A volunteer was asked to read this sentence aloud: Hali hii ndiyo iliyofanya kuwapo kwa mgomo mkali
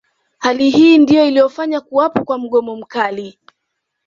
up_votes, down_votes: 2, 0